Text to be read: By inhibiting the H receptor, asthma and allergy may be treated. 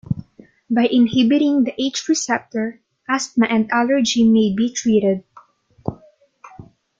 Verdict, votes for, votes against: accepted, 2, 0